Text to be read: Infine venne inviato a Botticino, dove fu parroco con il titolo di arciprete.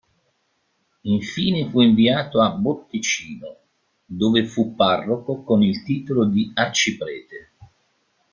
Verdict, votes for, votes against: rejected, 0, 2